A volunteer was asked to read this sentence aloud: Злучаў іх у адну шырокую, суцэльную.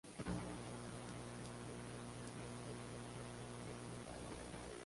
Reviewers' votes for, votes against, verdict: 0, 2, rejected